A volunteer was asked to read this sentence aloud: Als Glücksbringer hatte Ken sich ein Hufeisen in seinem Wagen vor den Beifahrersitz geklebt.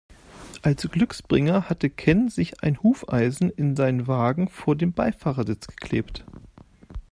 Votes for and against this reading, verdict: 2, 0, accepted